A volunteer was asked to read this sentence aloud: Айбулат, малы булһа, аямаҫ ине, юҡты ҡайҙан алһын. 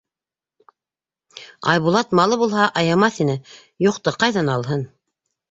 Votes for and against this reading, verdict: 2, 0, accepted